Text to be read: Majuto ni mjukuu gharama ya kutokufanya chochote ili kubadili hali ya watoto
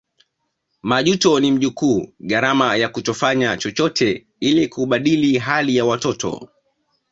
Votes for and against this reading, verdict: 1, 2, rejected